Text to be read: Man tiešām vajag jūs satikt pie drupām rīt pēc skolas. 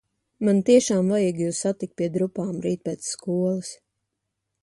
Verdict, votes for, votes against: accepted, 2, 0